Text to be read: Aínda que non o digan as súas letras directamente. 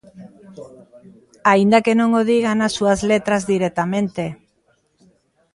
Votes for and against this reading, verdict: 2, 0, accepted